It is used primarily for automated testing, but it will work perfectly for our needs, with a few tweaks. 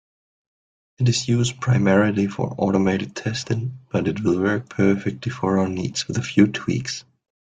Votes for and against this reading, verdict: 2, 0, accepted